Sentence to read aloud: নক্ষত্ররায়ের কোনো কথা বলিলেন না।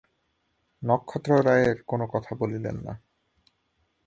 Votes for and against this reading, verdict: 3, 0, accepted